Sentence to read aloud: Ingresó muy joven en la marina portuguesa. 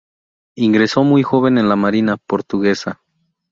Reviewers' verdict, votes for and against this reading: rejected, 2, 2